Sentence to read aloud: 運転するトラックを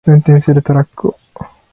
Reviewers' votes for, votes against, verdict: 3, 0, accepted